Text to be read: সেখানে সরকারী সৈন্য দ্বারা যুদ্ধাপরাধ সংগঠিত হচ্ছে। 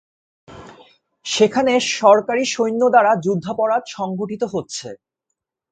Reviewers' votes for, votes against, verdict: 7, 0, accepted